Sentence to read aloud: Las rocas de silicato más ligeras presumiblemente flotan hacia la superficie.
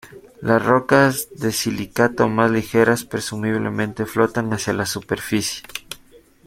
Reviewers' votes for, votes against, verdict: 1, 2, rejected